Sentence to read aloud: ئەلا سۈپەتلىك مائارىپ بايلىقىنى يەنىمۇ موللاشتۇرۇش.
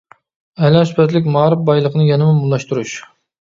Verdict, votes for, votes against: rejected, 1, 2